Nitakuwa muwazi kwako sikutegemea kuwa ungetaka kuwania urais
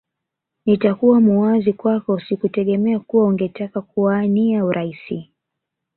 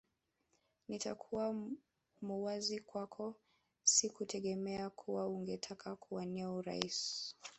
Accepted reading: first